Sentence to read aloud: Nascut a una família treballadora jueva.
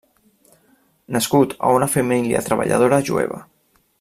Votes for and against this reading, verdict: 0, 2, rejected